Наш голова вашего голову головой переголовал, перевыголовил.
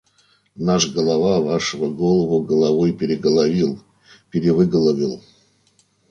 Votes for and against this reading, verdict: 1, 2, rejected